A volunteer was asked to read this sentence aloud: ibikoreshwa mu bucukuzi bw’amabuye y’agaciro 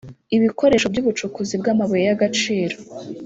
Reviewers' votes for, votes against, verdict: 1, 2, rejected